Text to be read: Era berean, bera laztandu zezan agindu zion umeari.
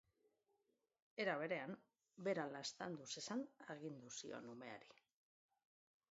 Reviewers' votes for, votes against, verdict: 2, 0, accepted